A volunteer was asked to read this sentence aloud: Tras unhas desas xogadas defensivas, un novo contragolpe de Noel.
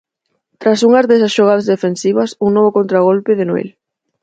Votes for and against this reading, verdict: 4, 0, accepted